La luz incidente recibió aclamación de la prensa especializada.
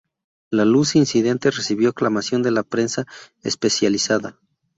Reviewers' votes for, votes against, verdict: 2, 2, rejected